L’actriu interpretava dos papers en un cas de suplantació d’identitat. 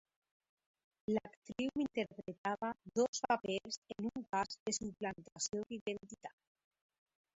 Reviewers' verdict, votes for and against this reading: accepted, 3, 2